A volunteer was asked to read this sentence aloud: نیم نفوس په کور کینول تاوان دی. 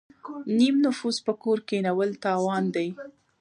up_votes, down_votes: 1, 2